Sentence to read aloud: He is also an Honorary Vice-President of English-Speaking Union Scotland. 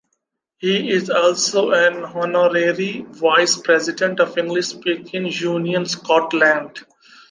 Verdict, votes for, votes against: rejected, 0, 2